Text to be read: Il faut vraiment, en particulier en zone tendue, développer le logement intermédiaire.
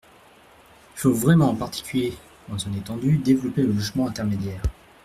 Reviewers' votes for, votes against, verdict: 1, 2, rejected